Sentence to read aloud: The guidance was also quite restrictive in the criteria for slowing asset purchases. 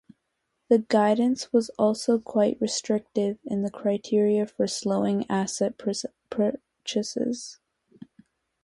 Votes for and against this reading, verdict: 0, 2, rejected